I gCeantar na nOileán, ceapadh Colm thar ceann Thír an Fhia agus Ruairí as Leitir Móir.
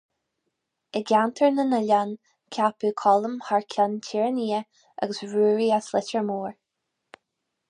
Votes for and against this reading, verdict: 2, 2, rejected